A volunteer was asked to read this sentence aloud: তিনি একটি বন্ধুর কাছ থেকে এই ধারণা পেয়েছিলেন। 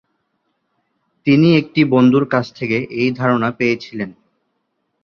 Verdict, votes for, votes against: accepted, 2, 0